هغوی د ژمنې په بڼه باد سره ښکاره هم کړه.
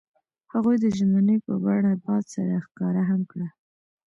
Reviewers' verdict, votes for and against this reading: accepted, 2, 0